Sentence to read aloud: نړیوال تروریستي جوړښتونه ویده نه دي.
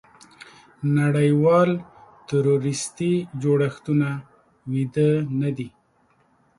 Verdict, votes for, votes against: accepted, 2, 0